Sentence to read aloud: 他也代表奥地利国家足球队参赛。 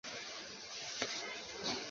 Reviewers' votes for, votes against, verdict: 0, 2, rejected